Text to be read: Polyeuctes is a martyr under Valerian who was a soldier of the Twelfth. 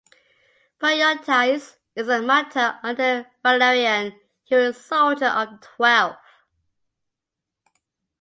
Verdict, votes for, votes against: rejected, 0, 2